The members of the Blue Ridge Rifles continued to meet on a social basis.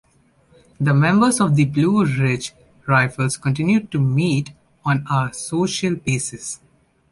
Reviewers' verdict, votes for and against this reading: accepted, 2, 0